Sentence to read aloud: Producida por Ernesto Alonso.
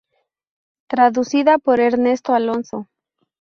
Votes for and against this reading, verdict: 0, 2, rejected